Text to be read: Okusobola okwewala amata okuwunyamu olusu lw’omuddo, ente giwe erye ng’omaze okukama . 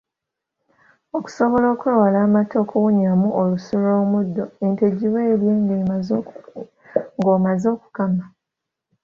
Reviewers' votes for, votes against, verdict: 0, 2, rejected